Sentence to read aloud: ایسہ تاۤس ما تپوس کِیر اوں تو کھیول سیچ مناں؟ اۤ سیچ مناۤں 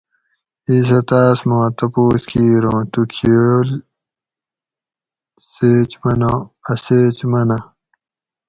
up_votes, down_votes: 4, 0